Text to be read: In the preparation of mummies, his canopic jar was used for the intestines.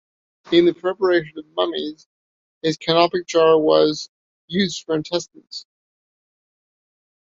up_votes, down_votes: 2, 1